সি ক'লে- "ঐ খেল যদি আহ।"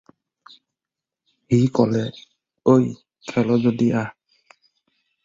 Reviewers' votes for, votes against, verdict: 0, 4, rejected